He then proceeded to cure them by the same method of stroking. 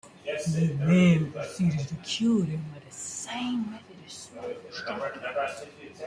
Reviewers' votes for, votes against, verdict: 0, 2, rejected